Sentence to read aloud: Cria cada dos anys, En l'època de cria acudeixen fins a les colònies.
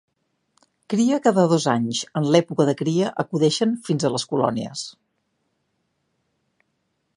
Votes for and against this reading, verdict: 2, 0, accepted